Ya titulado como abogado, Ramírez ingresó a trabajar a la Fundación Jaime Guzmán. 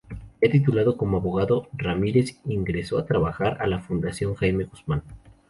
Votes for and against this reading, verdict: 2, 0, accepted